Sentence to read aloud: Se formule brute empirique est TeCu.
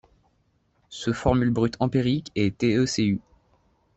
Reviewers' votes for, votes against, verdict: 2, 0, accepted